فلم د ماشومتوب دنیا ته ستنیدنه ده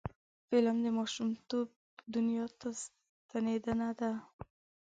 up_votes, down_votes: 4, 1